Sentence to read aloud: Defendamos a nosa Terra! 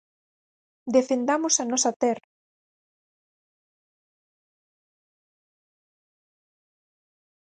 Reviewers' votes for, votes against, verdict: 2, 4, rejected